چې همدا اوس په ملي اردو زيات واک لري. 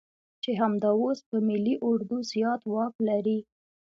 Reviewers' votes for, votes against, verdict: 2, 0, accepted